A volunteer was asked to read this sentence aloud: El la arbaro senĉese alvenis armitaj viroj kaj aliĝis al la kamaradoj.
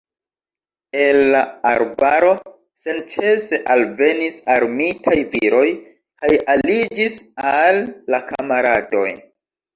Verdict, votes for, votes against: accepted, 2, 0